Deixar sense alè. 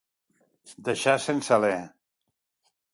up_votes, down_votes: 2, 0